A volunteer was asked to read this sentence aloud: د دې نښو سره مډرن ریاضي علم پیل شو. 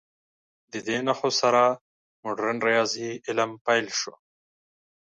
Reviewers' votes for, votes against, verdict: 2, 0, accepted